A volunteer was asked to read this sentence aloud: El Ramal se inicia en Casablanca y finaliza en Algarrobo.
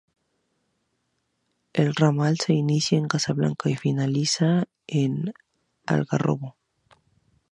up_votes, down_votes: 2, 0